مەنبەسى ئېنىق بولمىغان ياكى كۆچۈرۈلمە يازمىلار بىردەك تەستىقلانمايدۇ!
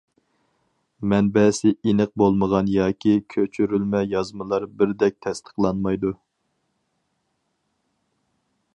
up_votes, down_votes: 4, 0